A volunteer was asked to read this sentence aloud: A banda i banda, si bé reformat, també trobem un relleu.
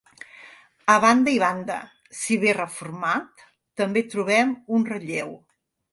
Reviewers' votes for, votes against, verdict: 3, 0, accepted